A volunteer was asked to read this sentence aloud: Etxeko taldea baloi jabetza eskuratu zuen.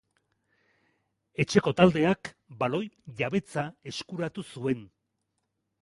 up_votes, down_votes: 2, 0